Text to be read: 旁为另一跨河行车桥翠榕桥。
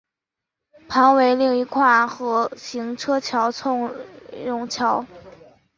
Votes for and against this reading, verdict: 0, 2, rejected